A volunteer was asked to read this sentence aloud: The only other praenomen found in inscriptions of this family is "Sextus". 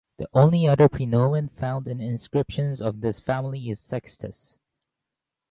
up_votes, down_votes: 4, 0